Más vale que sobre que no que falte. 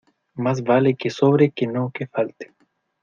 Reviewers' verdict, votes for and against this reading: accepted, 2, 0